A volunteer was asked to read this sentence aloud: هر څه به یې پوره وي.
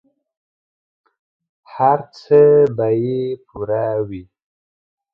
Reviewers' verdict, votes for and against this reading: accepted, 2, 0